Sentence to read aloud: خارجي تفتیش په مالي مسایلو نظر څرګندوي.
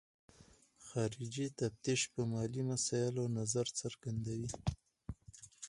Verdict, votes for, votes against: accepted, 4, 0